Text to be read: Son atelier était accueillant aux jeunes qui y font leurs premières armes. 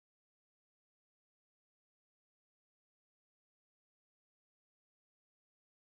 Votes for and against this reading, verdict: 0, 2, rejected